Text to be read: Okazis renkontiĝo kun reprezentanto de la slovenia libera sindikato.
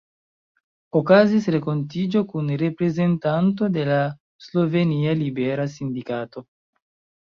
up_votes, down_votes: 2, 0